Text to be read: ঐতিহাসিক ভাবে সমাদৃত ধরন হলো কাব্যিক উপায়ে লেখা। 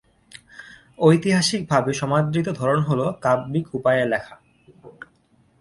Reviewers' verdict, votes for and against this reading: accepted, 2, 0